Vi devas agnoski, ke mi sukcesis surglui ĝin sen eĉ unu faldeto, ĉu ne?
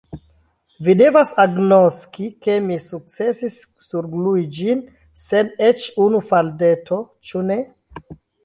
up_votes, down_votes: 0, 2